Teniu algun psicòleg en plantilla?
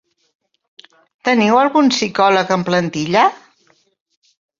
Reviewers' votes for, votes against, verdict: 5, 0, accepted